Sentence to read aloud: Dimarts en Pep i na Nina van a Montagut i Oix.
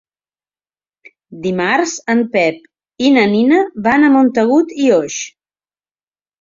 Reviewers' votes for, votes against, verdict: 3, 0, accepted